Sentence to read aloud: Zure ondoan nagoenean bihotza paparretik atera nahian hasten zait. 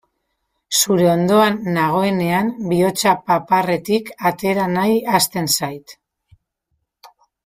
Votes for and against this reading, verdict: 0, 2, rejected